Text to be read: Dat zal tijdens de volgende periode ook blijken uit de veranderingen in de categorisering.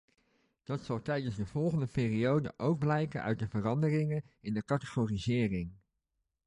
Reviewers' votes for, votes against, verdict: 1, 2, rejected